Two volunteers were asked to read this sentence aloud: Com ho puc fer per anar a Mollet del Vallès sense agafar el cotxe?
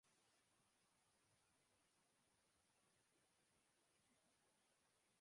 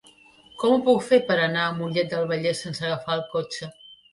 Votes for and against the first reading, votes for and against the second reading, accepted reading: 0, 2, 3, 0, second